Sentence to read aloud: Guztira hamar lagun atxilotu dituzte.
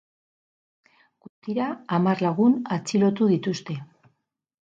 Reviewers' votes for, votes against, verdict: 4, 0, accepted